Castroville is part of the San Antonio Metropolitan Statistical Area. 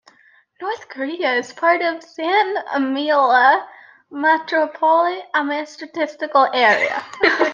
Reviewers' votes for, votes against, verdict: 0, 2, rejected